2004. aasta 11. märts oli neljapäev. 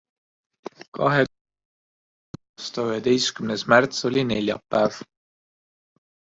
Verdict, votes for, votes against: rejected, 0, 2